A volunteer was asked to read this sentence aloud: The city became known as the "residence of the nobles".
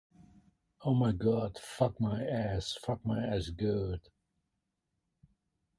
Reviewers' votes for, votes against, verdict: 0, 2, rejected